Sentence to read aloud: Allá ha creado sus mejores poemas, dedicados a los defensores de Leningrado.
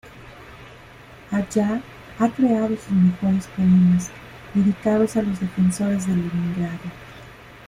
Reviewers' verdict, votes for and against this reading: rejected, 0, 2